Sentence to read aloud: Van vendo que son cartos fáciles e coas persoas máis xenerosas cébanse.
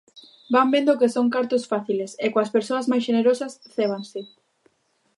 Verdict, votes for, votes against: accepted, 2, 0